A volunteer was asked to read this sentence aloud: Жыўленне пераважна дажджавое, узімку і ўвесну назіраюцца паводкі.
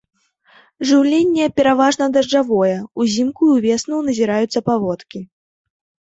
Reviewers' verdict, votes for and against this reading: accepted, 4, 0